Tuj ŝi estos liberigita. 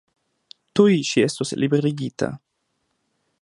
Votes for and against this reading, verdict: 2, 1, accepted